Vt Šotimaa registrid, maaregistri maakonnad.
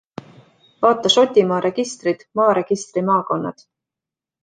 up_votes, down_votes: 2, 0